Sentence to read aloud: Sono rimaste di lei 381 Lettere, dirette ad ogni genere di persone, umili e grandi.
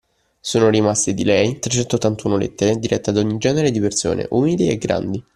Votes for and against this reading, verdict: 0, 2, rejected